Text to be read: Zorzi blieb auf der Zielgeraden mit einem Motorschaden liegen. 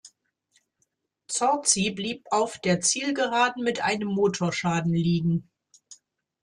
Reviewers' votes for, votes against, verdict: 2, 0, accepted